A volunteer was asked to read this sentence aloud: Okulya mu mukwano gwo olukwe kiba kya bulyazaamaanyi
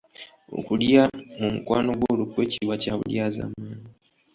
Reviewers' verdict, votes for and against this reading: accepted, 2, 0